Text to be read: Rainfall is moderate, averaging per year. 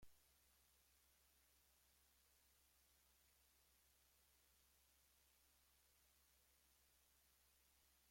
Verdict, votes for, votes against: rejected, 1, 2